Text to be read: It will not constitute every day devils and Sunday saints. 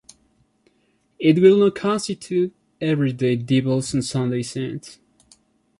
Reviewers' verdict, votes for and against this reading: accepted, 2, 1